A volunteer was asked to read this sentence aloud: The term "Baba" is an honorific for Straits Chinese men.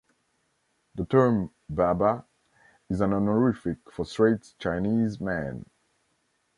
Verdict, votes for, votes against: accepted, 2, 0